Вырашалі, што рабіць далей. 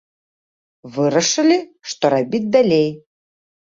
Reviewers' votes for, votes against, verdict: 1, 2, rejected